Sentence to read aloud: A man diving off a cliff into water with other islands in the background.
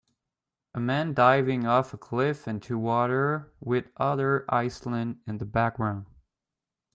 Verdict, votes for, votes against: rejected, 0, 2